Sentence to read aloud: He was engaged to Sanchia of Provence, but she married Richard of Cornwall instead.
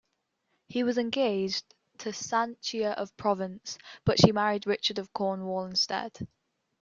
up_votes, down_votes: 2, 0